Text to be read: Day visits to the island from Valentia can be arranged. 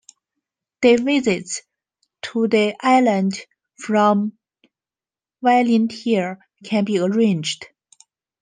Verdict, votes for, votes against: accepted, 3, 0